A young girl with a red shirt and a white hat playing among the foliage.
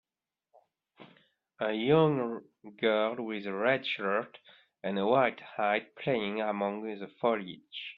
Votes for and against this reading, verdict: 0, 2, rejected